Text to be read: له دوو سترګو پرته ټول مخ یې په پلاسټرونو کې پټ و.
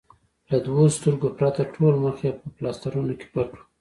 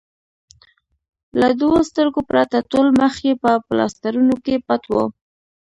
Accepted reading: second